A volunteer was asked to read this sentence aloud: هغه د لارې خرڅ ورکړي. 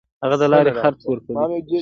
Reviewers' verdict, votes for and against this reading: accepted, 2, 0